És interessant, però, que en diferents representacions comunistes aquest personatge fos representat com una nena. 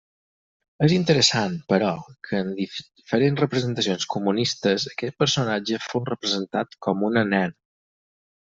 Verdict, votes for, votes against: rejected, 0, 4